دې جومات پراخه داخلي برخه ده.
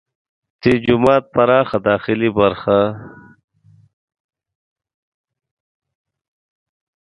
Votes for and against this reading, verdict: 2, 0, accepted